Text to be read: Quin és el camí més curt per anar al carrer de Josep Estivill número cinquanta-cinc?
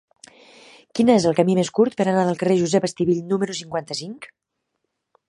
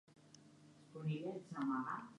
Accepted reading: first